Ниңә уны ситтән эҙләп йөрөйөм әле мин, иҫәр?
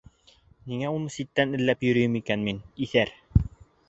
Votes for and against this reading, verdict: 0, 2, rejected